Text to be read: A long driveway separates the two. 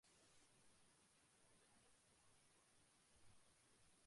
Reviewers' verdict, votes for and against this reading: rejected, 0, 2